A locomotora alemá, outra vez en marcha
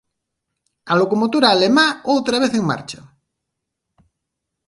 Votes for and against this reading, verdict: 2, 0, accepted